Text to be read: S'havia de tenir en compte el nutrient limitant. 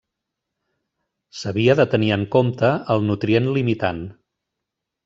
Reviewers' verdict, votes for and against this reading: accepted, 3, 0